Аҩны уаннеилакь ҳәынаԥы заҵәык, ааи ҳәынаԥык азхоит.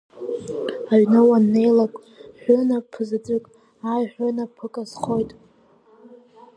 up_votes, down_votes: 2, 0